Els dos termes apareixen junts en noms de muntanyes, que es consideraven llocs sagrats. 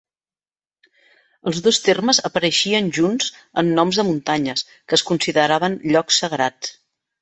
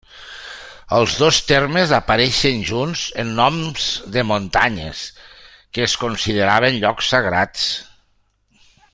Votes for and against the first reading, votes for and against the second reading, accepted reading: 0, 2, 3, 0, second